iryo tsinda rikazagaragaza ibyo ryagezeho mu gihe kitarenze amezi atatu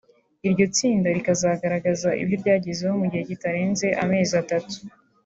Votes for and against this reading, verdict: 2, 0, accepted